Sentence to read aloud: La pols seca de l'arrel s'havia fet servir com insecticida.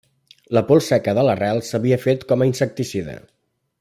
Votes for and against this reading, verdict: 0, 2, rejected